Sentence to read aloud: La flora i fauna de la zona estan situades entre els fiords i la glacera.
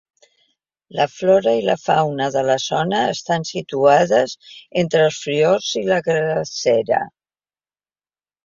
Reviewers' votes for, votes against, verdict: 1, 2, rejected